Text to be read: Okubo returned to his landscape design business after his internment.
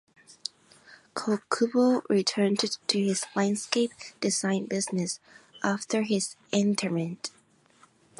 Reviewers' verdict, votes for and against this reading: rejected, 0, 2